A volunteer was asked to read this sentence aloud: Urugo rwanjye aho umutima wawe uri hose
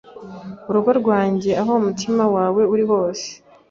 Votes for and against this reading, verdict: 2, 0, accepted